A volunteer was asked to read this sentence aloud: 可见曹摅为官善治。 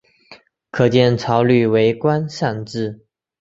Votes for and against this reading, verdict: 2, 1, accepted